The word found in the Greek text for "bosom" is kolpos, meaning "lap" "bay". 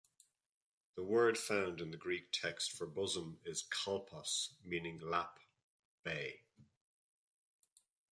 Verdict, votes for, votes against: accepted, 2, 0